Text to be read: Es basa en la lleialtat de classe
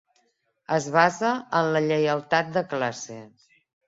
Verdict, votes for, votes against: accepted, 3, 1